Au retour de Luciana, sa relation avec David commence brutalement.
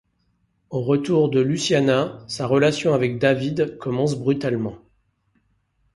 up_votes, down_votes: 2, 0